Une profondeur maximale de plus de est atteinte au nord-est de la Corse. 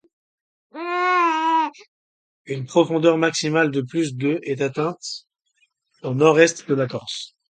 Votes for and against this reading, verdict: 2, 1, accepted